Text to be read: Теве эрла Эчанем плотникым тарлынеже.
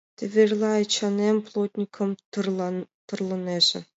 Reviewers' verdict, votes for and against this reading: rejected, 0, 2